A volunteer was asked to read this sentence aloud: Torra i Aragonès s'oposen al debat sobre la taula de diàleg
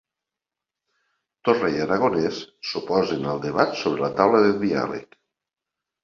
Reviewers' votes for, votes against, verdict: 2, 0, accepted